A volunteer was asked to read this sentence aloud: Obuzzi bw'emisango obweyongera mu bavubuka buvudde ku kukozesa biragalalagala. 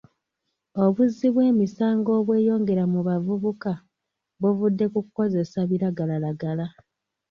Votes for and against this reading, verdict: 0, 2, rejected